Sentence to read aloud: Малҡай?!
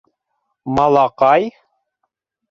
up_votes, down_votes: 1, 2